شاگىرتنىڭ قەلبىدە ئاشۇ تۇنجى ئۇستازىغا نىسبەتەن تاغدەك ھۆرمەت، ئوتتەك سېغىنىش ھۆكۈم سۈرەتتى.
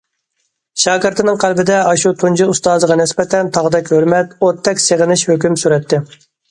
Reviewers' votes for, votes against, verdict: 1, 2, rejected